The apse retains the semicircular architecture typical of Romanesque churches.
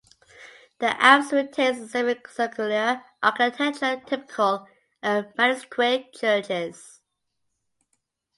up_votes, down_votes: 0, 2